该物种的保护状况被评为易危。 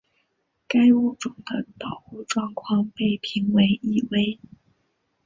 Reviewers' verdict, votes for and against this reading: rejected, 0, 2